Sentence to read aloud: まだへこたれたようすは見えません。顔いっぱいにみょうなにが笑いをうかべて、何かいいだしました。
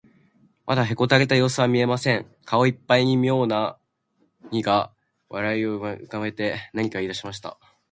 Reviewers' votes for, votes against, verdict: 1, 2, rejected